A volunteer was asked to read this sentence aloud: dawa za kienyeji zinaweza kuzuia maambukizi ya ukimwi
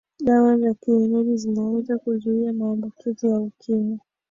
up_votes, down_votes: 2, 0